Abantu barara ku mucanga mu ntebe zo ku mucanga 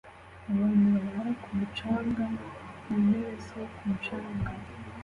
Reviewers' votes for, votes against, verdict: 2, 0, accepted